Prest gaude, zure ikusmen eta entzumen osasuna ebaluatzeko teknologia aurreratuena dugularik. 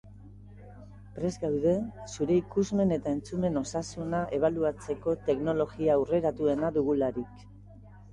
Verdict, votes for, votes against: rejected, 0, 2